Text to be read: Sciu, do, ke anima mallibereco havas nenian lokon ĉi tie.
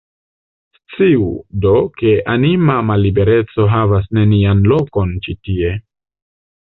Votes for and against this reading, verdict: 2, 0, accepted